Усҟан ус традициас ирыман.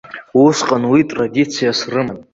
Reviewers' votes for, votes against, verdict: 0, 2, rejected